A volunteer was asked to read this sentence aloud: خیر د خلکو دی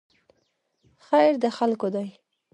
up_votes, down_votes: 2, 0